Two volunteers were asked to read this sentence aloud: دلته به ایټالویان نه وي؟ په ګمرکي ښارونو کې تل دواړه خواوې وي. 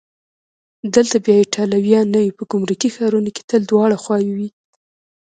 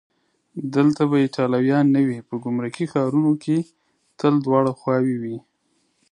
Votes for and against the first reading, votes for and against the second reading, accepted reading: 0, 2, 2, 0, second